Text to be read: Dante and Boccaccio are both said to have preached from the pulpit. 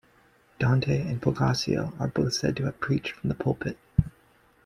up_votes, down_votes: 2, 0